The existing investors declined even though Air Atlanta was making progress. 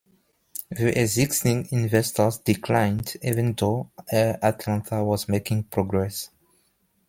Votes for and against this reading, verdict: 2, 1, accepted